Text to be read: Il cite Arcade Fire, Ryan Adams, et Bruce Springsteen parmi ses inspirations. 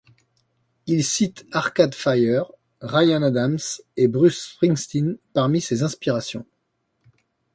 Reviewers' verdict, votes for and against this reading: accepted, 2, 0